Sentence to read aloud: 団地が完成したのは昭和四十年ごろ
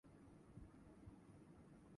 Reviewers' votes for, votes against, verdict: 0, 2, rejected